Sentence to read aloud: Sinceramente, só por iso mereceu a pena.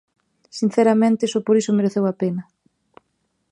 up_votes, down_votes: 2, 0